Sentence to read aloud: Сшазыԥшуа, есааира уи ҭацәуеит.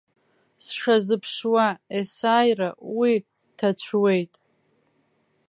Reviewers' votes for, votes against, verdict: 2, 1, accepted